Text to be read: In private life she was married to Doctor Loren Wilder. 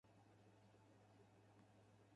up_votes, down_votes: 0, 2